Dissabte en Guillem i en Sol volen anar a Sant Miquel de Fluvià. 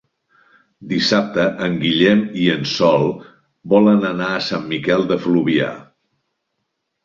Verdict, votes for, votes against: accepted, 2, 0